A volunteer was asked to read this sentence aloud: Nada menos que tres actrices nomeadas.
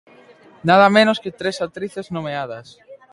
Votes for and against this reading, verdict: 3, 0, accepted